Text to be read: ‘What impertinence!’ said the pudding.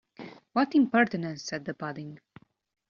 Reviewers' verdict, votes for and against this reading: rejected, 1, 2